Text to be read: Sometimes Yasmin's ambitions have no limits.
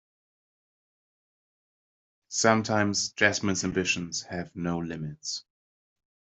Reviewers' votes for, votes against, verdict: 0, 2, rejected